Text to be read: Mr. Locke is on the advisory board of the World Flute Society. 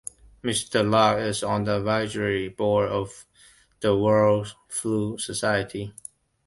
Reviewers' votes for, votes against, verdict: 1, 2, rejected